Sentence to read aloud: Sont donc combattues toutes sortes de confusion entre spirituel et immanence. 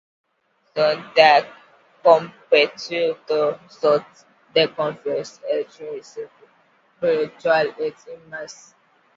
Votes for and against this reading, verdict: 0, 2, rejected